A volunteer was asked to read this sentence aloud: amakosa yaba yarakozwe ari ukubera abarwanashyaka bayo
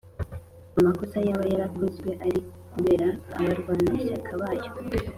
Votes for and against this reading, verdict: 3, 0, accepted